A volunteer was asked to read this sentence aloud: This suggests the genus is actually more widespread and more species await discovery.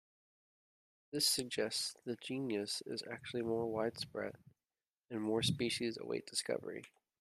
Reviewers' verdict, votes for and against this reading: rejected, 1, 2